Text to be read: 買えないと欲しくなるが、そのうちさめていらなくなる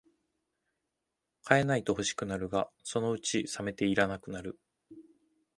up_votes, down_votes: 2, 0